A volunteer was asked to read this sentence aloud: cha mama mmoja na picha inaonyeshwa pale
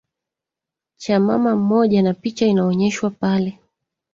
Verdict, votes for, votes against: rejected, 1, 2